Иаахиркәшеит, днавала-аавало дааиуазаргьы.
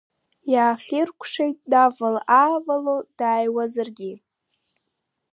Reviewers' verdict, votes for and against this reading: accepted, 2, 1